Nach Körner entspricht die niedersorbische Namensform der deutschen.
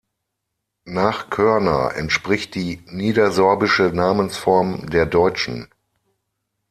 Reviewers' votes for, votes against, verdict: 6, 0, accepted